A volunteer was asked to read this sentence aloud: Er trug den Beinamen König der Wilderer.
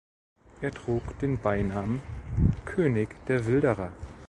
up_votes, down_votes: 2, 0